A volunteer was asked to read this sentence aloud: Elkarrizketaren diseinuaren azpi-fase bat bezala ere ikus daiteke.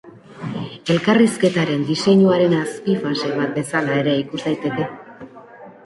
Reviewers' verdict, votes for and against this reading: rejected, 1, 2